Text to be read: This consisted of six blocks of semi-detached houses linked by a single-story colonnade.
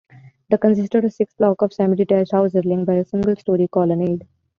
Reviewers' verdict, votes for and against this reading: rejected, 0, 2